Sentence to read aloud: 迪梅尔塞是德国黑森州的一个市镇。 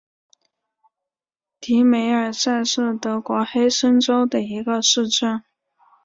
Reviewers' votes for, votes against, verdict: 5, 0, accepted